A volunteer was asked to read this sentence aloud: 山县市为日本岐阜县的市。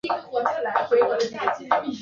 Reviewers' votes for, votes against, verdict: 0, 2, rejected